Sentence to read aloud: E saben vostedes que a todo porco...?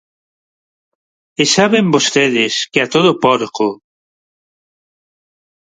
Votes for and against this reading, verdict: 4, 0, accepted